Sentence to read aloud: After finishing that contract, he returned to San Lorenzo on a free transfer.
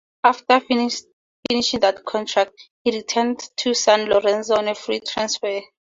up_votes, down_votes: 0, 2